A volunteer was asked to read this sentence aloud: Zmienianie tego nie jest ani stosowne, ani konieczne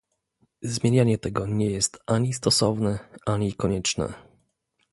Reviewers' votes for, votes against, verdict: 2, 0, accepted